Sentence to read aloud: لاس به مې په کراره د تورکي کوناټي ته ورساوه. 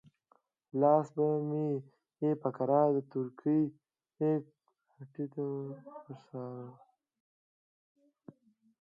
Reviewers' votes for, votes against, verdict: 1, 2, rejected